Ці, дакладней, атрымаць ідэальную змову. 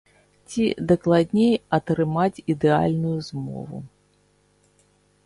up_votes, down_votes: 2, 1